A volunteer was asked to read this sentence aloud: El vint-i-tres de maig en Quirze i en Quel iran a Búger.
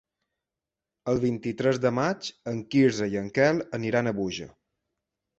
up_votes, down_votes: 0, 2